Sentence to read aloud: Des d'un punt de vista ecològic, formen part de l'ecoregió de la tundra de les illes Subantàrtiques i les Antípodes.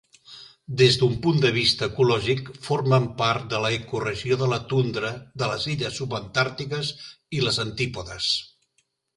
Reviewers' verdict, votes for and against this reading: accepted, 2, 1